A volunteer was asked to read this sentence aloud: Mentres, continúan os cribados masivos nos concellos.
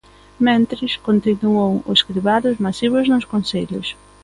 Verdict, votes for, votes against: accepted, 2, 0